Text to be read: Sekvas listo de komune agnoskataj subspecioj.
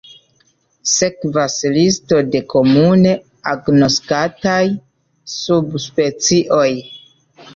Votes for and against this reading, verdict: 2, 0, accepted